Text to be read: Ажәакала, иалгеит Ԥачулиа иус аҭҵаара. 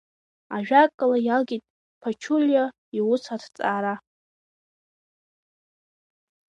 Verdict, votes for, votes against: rejected, 1, 2